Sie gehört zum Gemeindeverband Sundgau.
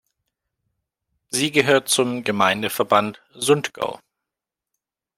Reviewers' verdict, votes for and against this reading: accepted, 2, 0